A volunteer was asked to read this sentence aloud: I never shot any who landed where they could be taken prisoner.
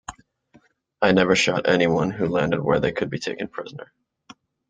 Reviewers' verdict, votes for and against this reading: rejected, 0, 2